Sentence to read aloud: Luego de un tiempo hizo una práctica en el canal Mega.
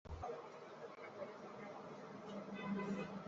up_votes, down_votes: 0, 2